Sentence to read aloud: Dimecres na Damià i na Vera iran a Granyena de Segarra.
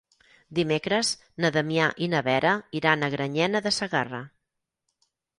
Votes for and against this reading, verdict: 6, 0, accepted